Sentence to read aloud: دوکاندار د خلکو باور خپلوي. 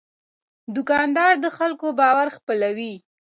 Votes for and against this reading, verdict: 2, 0, accepted